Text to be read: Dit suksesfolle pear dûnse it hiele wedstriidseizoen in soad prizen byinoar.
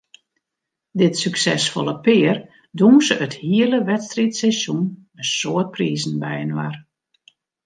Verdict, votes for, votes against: accepted, 2, 0